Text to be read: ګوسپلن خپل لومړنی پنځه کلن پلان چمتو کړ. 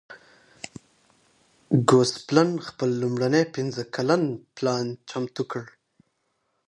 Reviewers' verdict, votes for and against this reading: accepted, 2, 0